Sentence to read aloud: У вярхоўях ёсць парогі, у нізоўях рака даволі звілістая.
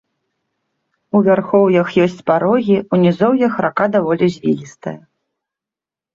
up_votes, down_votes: 2, 0